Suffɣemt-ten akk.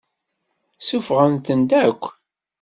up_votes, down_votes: 2, 0